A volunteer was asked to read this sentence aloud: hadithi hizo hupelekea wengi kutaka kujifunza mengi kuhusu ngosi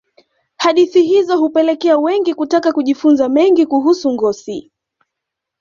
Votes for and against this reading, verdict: 2, 0, accepted